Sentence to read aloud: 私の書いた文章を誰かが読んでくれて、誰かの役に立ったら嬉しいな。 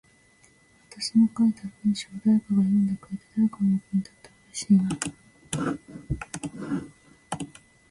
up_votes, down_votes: 0, 2